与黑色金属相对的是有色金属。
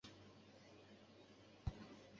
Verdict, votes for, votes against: rejected, 0, 2